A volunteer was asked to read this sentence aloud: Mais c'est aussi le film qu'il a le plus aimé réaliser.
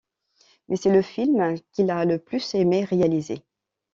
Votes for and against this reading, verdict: 1, 2, rejected